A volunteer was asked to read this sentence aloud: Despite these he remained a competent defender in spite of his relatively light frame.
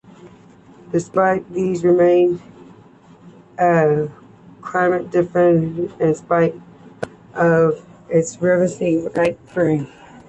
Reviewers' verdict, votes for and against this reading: rejected, 0, 2